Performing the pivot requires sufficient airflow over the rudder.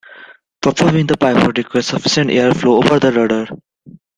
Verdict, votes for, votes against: rejected, 1, 2